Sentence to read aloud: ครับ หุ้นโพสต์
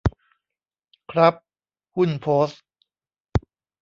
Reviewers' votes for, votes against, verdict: 1, 2, rejected